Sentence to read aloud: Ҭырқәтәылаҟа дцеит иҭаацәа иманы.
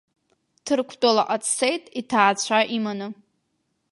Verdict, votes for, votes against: accepted, 2, 0